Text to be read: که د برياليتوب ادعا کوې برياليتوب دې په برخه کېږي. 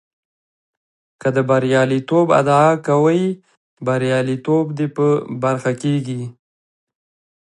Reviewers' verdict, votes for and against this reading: rejected, 1, 2